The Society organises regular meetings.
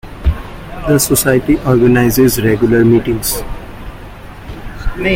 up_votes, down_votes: 2, 0